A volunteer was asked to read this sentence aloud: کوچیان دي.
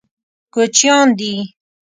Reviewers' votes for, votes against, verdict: 2, 0, accepted